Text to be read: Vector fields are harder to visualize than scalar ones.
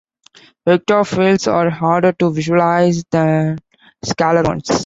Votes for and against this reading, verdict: 2, 1, accepted